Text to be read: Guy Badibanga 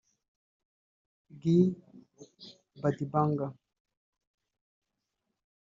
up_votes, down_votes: 0, 2